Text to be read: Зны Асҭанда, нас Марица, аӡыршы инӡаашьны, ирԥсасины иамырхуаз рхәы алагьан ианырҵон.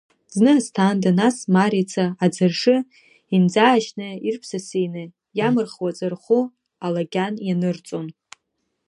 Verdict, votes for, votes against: rejected, 1, 2